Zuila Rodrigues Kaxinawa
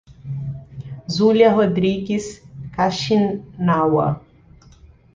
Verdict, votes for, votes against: rejected, 0, 2